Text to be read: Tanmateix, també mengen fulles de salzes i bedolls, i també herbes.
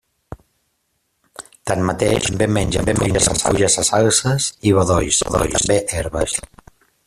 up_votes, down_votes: 0, 2